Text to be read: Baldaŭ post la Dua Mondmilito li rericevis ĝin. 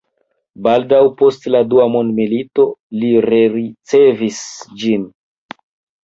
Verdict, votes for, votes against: rejected, 1, 2